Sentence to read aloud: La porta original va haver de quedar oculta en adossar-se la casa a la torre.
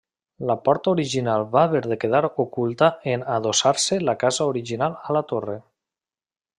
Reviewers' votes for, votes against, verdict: 0, 2, rejected